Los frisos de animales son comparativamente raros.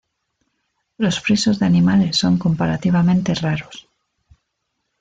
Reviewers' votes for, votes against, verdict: 2, 0, accepted